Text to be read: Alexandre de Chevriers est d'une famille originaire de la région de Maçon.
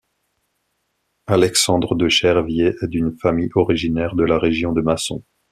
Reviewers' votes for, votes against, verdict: 1, 2, rejected